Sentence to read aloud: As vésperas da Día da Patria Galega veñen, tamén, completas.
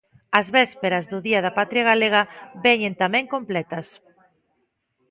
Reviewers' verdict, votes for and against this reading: rejected, 1, 2